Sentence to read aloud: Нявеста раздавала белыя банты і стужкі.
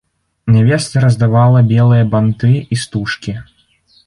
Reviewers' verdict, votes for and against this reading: accepted, 2, 0